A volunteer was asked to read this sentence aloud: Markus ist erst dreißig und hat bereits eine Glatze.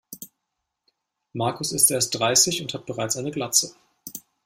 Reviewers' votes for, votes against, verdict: 2, 0, accepted